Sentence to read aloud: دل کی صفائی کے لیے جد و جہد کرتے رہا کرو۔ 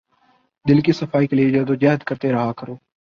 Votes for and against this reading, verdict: 4, 0, accepted